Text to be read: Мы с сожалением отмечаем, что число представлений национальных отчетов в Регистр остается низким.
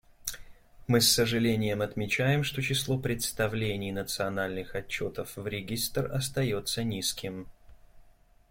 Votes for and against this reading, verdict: 2, 0, accepted